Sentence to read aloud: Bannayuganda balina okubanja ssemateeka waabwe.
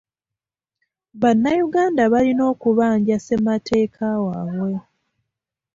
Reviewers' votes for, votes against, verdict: 0, 2, rejected